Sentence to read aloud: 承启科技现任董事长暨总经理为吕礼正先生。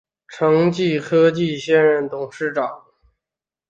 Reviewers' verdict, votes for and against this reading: rejected, 0, 2